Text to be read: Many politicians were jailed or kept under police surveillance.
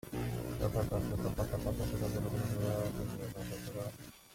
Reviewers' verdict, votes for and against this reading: rejected, 0, 2